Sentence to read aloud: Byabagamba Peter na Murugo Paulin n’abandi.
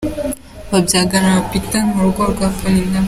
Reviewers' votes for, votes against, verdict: 0, 2, rejected